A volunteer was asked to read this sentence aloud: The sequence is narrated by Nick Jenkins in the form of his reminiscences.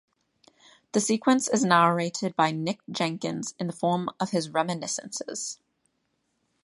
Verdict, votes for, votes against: accepted, 2, 0